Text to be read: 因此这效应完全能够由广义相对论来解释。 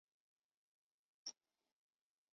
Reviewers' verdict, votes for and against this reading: rejected, 0, 2